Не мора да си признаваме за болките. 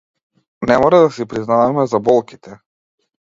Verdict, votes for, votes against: accepted, 2, 1